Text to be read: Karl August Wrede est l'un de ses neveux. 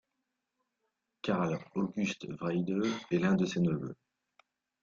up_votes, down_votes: 1, 2